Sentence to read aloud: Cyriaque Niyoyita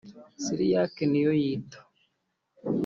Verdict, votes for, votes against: rejected, 1, 2